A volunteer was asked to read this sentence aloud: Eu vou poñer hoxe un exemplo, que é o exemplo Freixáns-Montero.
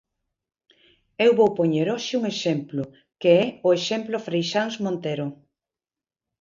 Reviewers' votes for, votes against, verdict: 2, 0, accepted